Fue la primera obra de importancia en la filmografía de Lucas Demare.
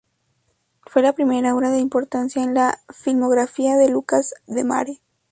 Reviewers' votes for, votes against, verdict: 2, 0, accepted